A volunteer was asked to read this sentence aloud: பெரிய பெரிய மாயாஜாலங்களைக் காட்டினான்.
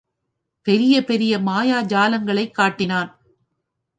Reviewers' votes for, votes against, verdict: 2, 0, accepted